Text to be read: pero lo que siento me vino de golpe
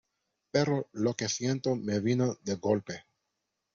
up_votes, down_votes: 2, 1